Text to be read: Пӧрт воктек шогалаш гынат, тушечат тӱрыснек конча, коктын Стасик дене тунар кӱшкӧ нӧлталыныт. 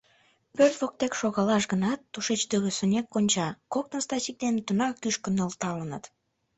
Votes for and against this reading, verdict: 0, 2, rejected